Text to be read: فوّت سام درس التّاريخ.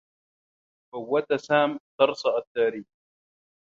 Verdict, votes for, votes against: rejected, 1, 2